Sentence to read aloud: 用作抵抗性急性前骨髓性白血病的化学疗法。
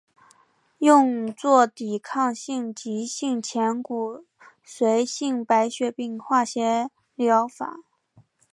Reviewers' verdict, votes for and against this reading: accepted, 2, 0